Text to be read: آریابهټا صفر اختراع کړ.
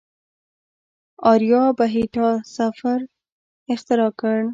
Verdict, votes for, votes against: rejected, 0, 2